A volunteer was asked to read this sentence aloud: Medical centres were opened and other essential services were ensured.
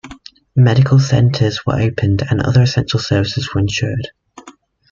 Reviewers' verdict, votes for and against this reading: accepted, 2, 0